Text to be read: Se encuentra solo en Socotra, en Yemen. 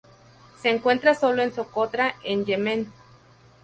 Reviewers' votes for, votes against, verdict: 0, 2, rejected